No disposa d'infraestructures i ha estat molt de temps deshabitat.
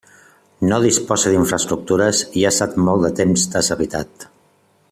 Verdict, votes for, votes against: accepted, 2, 0